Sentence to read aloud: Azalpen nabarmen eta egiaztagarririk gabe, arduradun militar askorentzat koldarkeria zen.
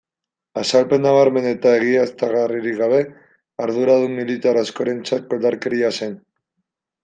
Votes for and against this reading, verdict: 2, 0, accepted